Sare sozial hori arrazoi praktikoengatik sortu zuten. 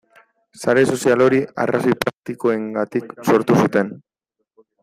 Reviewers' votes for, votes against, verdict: 1, 2, rejected